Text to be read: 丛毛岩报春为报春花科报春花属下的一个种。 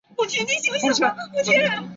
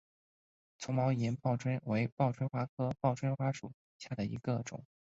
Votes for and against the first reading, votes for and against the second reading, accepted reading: 1, 3, 2, 1, second